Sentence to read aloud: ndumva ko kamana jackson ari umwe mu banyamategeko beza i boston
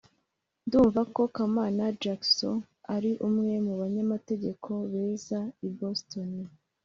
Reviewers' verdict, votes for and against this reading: accepted, 2, 0